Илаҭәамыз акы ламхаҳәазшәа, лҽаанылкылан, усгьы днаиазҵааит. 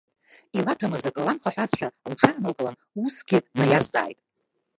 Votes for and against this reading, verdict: 0, 4, rejected